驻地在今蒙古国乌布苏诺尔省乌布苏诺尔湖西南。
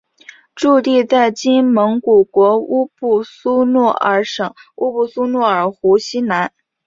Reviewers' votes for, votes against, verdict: 4, 0, accepted